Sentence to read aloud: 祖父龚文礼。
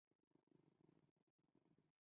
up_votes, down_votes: 2, 1